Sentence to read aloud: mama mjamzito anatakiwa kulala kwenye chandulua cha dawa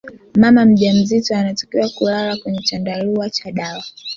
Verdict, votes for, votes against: rejected, 0, 2